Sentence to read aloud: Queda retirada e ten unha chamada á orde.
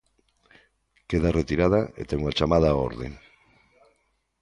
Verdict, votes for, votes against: accepted, 2, 0